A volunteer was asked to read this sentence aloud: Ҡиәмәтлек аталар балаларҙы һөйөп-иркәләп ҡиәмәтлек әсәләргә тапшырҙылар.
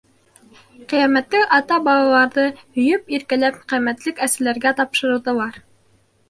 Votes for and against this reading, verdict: 0, 2, rejected